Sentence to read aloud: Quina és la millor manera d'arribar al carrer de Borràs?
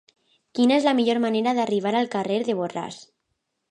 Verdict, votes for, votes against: rejected, 0, 2